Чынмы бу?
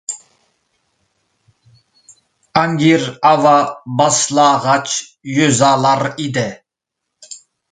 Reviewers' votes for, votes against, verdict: 0, 2, rejected